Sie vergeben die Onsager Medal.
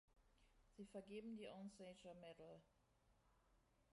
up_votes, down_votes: 1, 2